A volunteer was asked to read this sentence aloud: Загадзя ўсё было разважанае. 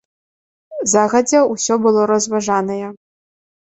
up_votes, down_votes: 2, 0